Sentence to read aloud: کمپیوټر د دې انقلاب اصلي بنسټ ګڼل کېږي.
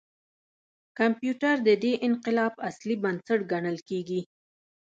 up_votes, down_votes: 1, 2